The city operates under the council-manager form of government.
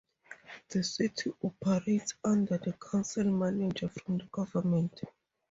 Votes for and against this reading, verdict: 0, 2, rejected